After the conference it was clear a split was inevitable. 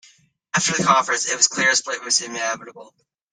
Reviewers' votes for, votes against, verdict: 0, 2, rejected